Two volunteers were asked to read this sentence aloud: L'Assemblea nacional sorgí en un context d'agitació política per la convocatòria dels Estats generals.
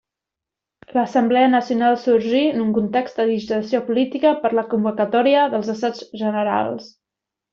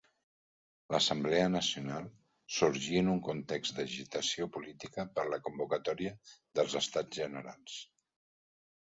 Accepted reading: second